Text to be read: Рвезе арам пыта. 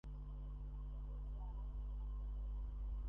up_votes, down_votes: 0, 2